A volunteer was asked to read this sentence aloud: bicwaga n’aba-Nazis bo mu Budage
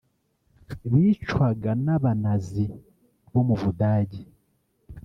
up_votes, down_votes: 1, 2